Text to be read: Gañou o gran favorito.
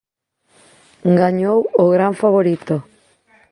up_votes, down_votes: 2, 0